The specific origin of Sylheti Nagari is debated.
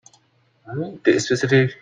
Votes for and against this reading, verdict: 0, 3, rejected